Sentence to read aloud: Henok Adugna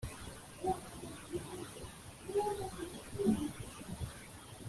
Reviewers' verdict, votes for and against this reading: rejected, 0, 2